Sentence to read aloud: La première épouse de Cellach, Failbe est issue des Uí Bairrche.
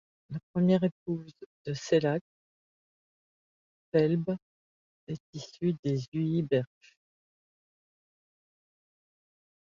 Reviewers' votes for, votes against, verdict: 0, 2, rejected